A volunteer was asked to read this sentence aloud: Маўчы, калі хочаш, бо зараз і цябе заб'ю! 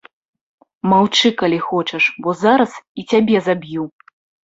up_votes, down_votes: 2, 0